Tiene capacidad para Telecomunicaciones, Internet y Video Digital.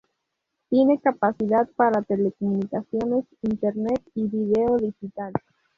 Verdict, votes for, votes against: accepted, 2, 0